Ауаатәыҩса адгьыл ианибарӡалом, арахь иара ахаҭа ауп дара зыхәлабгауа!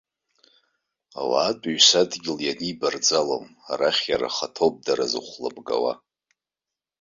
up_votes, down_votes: 0, 2